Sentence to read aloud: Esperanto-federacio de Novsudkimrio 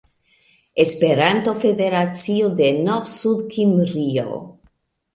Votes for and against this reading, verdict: 3, 0, accepted